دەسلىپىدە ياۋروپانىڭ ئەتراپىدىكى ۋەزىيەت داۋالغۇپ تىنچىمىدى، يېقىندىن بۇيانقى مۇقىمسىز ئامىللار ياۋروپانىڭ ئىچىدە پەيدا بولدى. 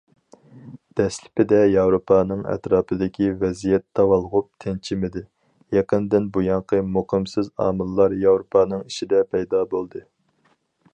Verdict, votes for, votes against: accepted, 4, 0